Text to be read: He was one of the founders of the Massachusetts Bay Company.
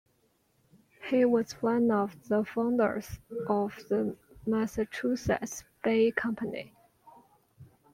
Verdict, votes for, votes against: rejected, 1, 2